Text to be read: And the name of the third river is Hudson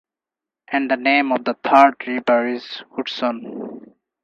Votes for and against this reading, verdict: 4, 0, accepted